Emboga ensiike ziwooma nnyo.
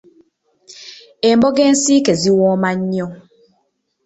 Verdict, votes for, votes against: rejected, 1, 2